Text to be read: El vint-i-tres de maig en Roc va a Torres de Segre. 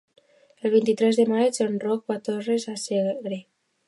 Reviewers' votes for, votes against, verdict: 2, 0, accepted